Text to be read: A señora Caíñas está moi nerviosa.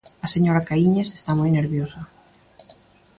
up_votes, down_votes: 2, 0